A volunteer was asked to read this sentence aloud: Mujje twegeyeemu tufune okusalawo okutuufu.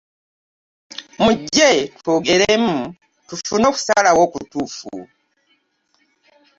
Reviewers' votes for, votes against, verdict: 1, 2, rejected